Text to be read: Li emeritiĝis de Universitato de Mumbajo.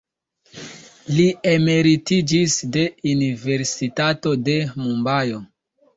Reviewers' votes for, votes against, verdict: 1, 2, rejected